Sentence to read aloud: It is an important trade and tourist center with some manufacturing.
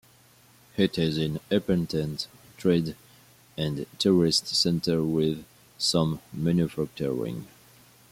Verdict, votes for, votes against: accepted, 2, 1